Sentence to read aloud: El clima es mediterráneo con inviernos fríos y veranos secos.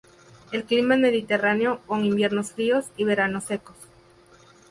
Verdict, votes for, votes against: accepted, 2, 0